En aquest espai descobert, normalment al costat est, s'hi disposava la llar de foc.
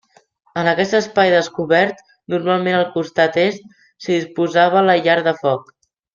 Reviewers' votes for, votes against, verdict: 2, 0, accepted